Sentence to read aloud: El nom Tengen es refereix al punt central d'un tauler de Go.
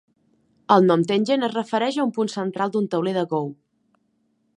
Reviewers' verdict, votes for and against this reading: rejected, 1, 2